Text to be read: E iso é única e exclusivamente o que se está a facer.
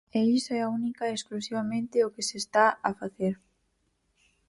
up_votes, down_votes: 0, 4